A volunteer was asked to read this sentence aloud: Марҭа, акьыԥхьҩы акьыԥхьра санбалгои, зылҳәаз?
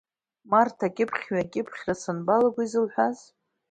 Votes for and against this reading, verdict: 1, 2, rejected